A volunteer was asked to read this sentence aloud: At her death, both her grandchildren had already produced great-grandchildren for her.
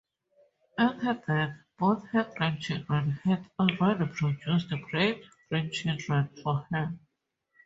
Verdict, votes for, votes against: accepted, 2, 0